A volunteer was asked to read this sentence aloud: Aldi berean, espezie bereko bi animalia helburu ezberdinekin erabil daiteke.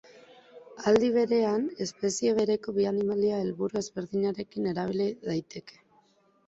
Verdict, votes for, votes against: accepted, 2, 1